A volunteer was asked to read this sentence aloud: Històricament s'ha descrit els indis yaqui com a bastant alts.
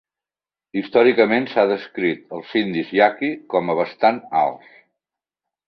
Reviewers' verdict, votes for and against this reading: accepted, 2, 0